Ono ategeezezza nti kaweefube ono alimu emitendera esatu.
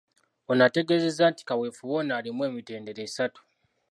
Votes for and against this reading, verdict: 2, 0, accepted